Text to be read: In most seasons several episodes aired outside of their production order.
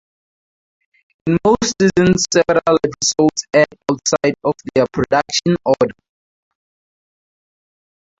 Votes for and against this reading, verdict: 0, 2, rejected